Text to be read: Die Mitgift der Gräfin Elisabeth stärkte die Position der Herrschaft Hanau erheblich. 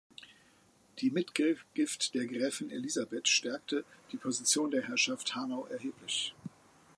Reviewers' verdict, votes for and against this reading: rejected, 0, 4